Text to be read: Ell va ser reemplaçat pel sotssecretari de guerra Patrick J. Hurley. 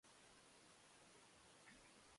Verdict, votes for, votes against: rejected, 1, 2